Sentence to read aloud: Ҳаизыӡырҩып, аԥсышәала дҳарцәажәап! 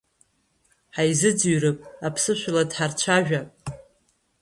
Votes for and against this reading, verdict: 1, 2, rejected